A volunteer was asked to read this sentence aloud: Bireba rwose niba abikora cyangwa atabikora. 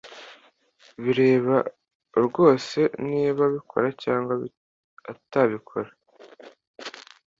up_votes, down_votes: 0, 2